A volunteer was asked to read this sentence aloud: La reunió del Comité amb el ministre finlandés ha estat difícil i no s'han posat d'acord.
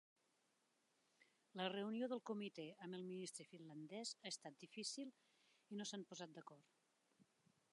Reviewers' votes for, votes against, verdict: 0, 3, rejected